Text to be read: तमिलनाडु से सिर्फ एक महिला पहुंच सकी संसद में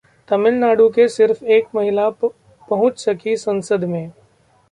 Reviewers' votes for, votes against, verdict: 1, 2, rejected